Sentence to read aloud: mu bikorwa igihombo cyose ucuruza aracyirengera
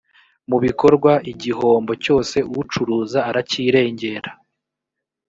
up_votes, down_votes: 3, 0